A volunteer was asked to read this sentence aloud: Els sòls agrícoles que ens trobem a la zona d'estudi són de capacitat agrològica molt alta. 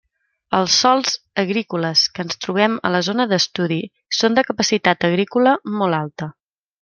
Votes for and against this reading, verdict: 0, 2, rejected